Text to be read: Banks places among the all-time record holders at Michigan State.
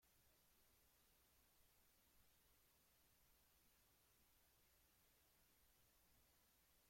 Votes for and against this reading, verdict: 0, 2, rejected